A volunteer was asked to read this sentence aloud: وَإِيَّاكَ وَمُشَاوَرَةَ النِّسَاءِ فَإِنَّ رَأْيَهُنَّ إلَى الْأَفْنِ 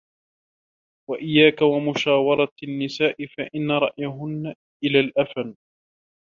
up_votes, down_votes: 2, 1